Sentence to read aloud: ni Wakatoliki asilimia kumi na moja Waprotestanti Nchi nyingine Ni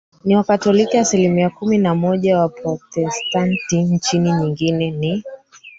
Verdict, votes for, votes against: rejected, 1, 2